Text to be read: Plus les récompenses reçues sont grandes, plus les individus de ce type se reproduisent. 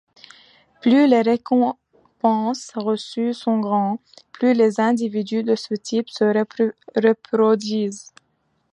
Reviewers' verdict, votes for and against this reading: rejected, 0, 2